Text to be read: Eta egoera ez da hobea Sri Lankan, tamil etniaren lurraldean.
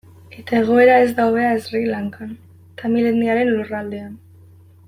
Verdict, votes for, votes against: accepted, 2, 0